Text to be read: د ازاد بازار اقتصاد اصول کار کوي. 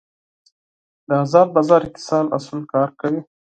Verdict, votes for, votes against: accepted, 4, 2